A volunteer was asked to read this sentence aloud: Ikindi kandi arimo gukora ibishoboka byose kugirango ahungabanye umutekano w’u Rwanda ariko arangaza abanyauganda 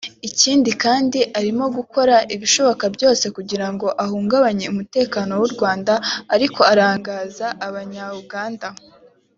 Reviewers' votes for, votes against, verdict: 4, 0, accepted